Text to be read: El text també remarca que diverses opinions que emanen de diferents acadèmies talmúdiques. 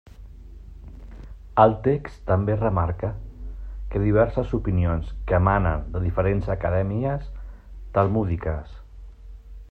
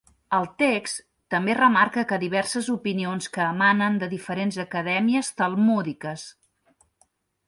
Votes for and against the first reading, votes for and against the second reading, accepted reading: 1, 2, 2, 0, second